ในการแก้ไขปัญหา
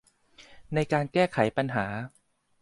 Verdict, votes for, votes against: accepted, 2, 0